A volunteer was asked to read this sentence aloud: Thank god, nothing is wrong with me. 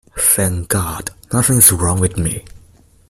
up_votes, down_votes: 2, 1